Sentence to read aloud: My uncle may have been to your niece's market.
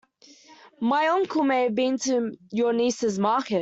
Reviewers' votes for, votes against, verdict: 1, 2, rejected